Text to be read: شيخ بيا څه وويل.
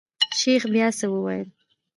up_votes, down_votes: 1, 2